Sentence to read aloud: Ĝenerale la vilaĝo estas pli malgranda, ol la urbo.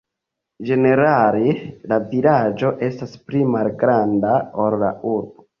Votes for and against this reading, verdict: 2, 1, accepted